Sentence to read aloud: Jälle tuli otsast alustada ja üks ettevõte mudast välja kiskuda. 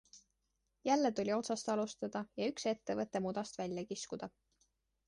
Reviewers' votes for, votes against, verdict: 2, 0, accepted